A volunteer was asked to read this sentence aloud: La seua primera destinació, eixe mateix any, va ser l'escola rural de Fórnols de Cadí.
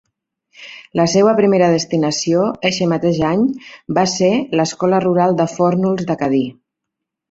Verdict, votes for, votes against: accepted, 2, 0